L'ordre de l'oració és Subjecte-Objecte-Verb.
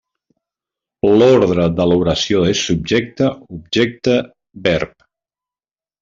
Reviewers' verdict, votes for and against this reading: accepted, 2, 0